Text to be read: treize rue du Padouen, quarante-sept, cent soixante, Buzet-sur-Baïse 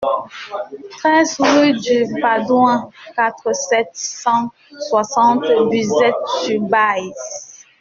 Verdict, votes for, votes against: rejected, 1, 2